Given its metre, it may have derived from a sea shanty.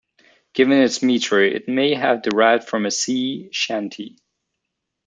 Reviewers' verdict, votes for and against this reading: accepted, 2, 0